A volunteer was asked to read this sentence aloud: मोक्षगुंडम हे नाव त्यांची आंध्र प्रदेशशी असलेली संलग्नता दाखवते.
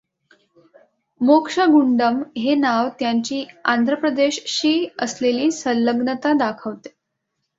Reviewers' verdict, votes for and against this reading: accepted, 2, 0